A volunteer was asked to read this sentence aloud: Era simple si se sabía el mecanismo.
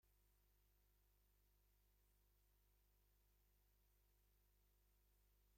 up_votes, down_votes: 1, 2